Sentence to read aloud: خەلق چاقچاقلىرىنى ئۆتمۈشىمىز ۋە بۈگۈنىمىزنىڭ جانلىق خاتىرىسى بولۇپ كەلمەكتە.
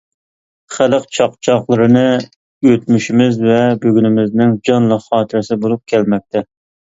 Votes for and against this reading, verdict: 2, 0, accepted